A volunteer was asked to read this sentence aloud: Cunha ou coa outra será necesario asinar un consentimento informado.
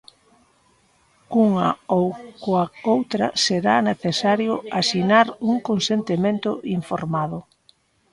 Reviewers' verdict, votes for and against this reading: rejected, 1, 2